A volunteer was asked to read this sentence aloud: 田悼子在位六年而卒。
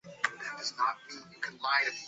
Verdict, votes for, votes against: rejected, 0, 2